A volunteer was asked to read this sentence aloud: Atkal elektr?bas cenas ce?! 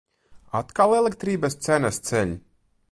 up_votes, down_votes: 2, 2